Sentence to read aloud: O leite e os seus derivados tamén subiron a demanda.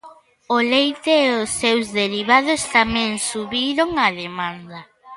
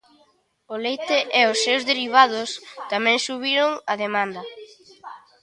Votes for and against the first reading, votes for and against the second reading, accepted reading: 2, 0, 0, 2, first